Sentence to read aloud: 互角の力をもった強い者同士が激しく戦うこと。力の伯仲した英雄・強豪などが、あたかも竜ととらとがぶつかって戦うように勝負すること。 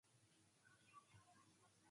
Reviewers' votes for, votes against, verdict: 0, 2, rejected